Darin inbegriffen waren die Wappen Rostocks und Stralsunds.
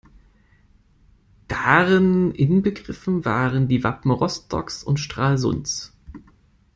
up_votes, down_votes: 2, 0